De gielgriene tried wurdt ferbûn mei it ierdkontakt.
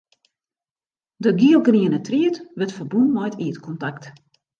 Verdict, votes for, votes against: accepted, 2, 0